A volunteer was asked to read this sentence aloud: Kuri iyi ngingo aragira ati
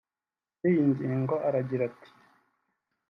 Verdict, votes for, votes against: accepted, 3, 0